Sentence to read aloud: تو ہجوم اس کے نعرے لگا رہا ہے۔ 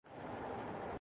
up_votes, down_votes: 2, 8